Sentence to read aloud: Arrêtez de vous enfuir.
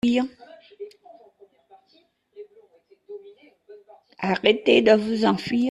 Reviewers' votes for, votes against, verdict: 1, 2, rejected